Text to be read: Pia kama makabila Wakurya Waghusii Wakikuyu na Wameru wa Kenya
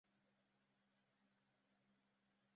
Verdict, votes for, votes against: rejected, 0, 2